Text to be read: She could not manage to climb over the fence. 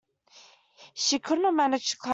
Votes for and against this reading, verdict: 0, 2, rejected